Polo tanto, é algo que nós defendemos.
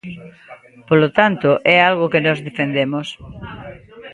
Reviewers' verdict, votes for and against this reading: accepted, 2, 0